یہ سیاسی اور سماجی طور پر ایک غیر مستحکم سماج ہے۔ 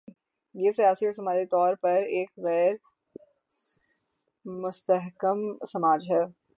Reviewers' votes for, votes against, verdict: 0, 6, rejected